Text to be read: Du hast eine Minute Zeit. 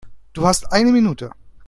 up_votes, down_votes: 0, 2